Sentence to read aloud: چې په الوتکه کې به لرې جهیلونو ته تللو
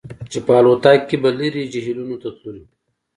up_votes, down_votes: 2, 0